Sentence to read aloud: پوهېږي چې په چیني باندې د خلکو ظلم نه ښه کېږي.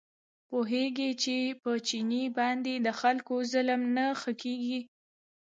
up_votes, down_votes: 1, 2